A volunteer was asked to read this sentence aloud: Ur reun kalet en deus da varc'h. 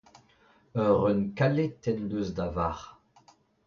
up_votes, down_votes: 2, 0